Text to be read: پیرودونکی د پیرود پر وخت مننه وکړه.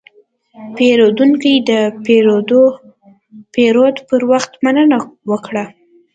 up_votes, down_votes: 1, 2